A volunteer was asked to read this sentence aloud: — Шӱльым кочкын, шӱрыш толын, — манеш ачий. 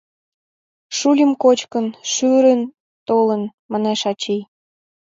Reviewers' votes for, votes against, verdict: 0, 3, rejected